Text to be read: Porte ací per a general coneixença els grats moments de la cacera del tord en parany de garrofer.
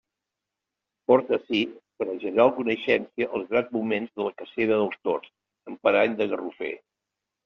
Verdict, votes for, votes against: rejected, 0, 2